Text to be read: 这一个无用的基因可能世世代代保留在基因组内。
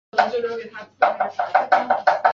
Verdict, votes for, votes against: rejected, 0, 2